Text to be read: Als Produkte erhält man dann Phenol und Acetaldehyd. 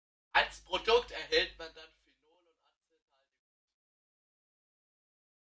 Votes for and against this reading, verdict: 0, 2, rejected